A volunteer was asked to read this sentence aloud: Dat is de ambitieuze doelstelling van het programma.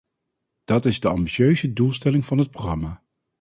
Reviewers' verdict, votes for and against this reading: accepted, 4, 0